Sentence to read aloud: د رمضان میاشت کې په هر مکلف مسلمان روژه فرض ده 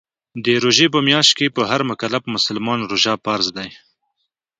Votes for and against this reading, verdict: 1, 2, rejected